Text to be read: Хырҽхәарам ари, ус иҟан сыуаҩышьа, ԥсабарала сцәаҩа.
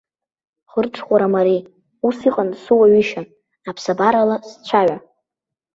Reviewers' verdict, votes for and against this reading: rejected, 0, 2